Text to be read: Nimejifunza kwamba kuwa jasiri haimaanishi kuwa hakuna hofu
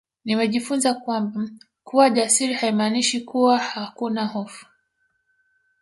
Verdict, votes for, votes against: accepted, 2, 0